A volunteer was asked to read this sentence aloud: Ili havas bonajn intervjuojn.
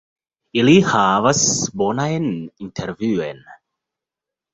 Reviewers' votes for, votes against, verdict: 2, 3, rejected